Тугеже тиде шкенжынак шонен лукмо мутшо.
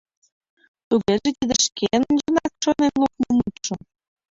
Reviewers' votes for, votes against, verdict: 1, 2, rejected